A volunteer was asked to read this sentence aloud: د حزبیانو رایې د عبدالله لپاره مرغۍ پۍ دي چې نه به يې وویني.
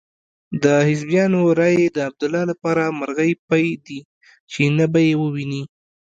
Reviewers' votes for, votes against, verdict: 1, 2, rejected